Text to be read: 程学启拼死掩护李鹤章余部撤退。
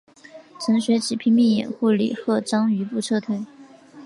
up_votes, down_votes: 2, 0